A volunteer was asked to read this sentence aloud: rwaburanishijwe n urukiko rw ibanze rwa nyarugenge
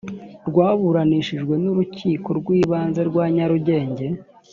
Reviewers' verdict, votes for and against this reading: accepted, 2, 0